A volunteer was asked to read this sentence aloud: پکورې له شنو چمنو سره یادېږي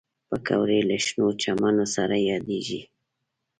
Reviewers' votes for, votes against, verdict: 2, 0, accepted